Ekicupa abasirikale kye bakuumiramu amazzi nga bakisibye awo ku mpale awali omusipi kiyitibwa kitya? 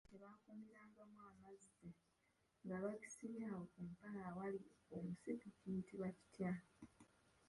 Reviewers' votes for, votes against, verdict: 0, 2, rejected